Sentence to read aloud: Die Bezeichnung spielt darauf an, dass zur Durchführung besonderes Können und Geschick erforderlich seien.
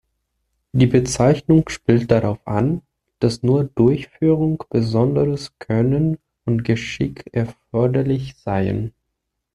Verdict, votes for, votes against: rejected, 1, 2